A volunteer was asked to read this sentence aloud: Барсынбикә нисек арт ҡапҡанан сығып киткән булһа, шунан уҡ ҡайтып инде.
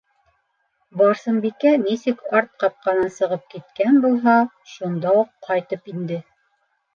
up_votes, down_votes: 1, 3